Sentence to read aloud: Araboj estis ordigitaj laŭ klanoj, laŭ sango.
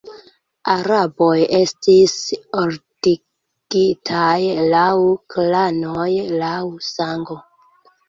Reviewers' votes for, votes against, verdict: 2, 0, accepted